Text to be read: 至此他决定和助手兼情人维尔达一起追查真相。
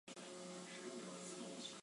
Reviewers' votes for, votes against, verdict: 0, 3, rejected